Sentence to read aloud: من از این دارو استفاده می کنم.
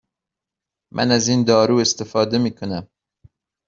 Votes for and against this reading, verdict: 2, 0, accepted